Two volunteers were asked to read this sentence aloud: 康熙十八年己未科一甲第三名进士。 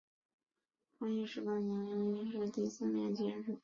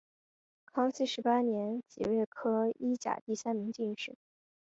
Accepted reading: second